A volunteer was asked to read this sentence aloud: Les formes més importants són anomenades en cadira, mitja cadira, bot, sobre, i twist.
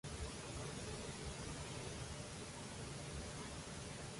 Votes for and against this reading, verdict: 0, 2, rejected